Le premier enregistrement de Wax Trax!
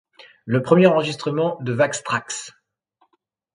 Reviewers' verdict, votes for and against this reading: accepted, 2, 0